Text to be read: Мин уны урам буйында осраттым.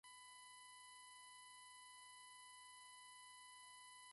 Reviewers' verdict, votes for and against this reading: rejected, 2, 3